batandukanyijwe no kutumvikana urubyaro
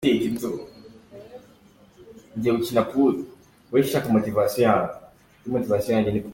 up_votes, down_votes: 0, 2